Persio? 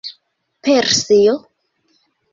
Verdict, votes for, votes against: rejected, 1, 2